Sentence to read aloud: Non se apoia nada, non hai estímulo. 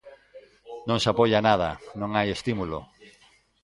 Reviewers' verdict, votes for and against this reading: accepted, 2, 0